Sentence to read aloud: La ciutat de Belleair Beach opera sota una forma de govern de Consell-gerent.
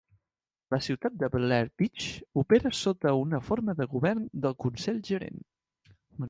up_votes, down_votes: 2, 0